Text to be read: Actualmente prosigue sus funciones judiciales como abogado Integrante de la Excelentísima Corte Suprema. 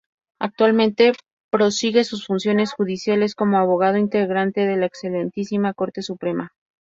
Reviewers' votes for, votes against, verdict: 2, 0, accepted